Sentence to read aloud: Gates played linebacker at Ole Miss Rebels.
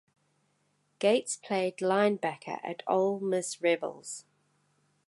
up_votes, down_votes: 2, 0